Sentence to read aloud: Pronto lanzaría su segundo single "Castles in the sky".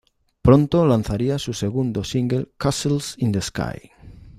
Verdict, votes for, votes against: accepted, 2, 0